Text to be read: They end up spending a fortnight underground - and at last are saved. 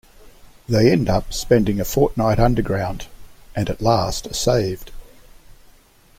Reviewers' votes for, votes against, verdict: 2, 0, accepted